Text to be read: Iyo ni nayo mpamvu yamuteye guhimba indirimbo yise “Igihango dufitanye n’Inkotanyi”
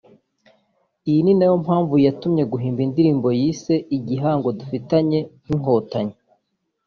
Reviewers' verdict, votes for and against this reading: rejected, 1, 2